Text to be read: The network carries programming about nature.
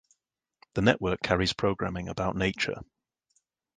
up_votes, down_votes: 2, 0